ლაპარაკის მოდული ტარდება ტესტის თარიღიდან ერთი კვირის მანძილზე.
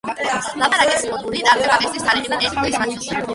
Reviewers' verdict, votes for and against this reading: rejected, 0, 2